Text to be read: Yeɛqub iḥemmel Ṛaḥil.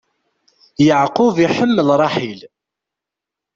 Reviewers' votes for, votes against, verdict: 2, 0, accepted